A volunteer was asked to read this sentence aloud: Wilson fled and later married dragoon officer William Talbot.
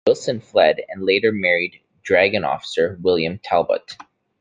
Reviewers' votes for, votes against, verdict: 0, 2, rejected